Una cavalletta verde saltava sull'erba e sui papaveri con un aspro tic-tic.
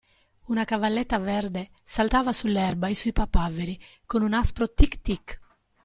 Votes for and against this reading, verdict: 2, 0, accepted